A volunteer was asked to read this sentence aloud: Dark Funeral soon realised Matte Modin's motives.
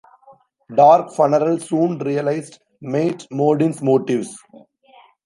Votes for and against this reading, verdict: 0, 2, rejected